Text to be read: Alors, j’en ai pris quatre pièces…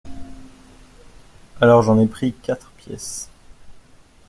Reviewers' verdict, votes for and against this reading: accepted, 2, 0